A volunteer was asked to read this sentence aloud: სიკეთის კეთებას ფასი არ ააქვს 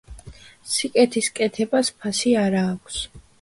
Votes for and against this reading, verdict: 2, 0, accepted